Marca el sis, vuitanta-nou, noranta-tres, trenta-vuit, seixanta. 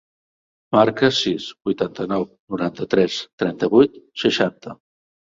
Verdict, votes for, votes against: rejected, 1, 2